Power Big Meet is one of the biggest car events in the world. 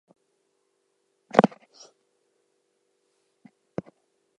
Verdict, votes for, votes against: rejected, 0, 2